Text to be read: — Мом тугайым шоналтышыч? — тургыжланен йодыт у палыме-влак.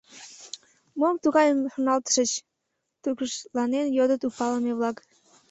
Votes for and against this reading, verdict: 1, 2, rejected